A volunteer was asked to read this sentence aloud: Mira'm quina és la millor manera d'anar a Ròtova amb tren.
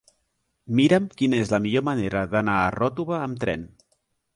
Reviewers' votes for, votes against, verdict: 2, 0, accepted